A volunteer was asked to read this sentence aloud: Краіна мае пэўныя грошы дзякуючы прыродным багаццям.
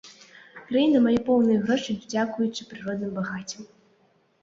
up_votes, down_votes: 0, 2